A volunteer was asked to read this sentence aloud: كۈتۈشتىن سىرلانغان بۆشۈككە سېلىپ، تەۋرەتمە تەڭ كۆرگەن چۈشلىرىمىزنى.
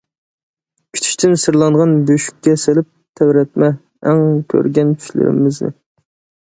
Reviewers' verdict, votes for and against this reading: accepted, 2, 0